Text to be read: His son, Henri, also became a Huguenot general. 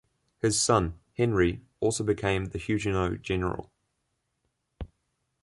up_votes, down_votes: 2, 0